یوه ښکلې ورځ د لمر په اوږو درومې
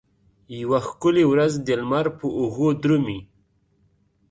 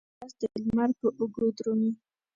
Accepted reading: first